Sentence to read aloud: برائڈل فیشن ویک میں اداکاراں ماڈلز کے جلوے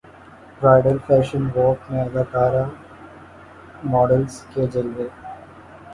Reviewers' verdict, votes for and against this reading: rejected, 2, 3